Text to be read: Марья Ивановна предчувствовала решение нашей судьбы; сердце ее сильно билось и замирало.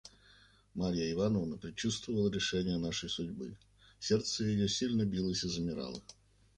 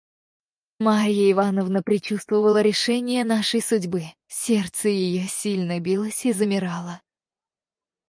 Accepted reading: first